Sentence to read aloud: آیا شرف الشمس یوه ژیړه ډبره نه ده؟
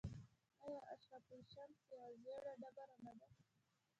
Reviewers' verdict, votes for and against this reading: rejected, 1, 2